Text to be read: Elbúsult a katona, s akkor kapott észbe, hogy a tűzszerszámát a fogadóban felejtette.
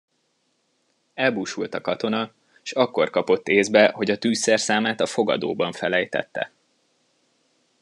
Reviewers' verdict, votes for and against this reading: accepted, 2, 0